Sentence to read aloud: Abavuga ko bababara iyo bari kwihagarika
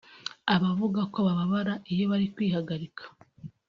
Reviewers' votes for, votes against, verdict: 2, 0, accepted